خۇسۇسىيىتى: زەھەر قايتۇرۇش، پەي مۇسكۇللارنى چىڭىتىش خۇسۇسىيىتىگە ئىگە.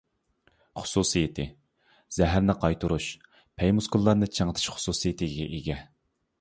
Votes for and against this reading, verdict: 0, 2, rejected